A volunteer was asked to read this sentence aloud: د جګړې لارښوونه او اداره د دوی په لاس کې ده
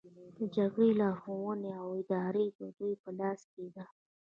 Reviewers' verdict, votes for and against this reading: rejected, 0, 2